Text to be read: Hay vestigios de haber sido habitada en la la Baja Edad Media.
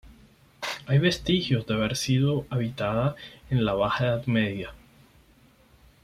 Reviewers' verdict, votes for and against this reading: accepted, 4, 0